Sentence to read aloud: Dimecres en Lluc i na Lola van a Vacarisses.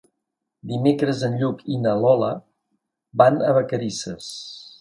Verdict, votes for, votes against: accepted, 2, 0